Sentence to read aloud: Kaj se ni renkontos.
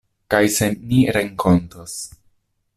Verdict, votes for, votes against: accepted, 2, 0